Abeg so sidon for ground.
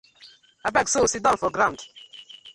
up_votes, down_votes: 2, 1